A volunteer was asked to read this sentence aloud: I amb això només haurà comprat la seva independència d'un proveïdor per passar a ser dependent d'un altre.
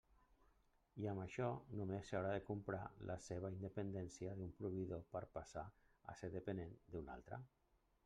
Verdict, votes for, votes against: rejected, 0, 2